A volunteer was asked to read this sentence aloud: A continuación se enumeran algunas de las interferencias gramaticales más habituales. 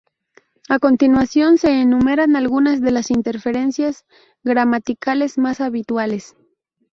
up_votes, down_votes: 2, 0